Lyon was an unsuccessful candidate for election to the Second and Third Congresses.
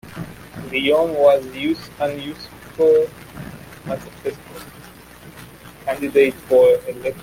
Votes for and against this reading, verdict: 0, 2, rejected